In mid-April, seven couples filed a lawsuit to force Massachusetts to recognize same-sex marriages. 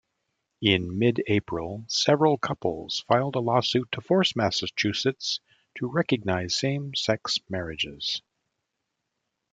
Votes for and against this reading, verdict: 0, 2, rejected